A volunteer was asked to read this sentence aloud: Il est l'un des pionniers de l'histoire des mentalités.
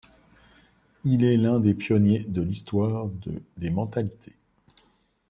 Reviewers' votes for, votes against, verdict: 0, 2, rejected